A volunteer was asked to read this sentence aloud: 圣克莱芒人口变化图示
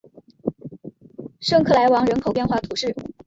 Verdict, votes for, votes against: rejected, 1, 2